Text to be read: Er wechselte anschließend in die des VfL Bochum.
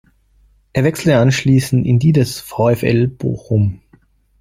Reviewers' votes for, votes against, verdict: 2, 0, accepted